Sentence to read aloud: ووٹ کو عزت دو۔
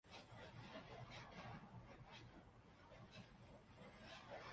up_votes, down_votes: 0, 2